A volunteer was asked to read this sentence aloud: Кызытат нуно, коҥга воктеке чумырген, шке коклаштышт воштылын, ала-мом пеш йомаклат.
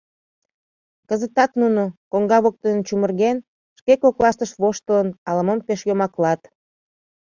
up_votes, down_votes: 1, 2